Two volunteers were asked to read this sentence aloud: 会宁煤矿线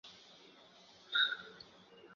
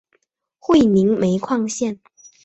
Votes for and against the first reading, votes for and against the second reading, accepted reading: 1, 3, 4, 0, second